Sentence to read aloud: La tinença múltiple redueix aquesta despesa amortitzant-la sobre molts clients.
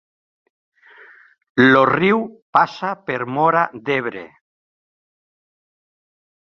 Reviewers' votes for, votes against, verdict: 0, 2, rejected